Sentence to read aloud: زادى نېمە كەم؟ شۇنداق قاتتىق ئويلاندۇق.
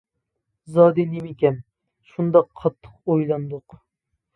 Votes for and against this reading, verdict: 2, 0, accepted